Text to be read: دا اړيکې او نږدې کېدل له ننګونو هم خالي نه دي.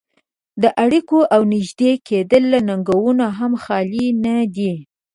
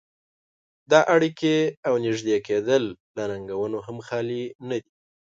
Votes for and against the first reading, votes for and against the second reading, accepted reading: 2, 0, 0, 2, first